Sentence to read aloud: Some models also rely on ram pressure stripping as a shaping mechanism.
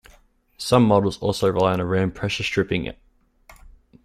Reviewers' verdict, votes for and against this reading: rejected, 0, 2